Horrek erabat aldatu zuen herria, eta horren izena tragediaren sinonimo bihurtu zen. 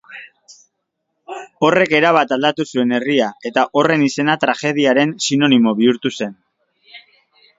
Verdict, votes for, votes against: accepted, 2, 0